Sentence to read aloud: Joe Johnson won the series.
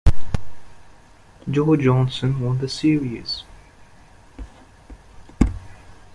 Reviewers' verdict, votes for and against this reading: accepted, 2, 0